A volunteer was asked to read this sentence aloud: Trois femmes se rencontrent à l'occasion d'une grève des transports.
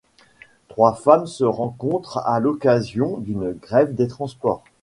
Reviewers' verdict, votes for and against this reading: accepted, 2, 0